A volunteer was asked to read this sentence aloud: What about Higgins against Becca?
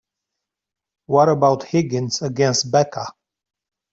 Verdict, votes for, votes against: accepted, 2, 0